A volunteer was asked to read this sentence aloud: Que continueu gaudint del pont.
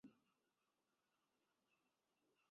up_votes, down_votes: 1, 2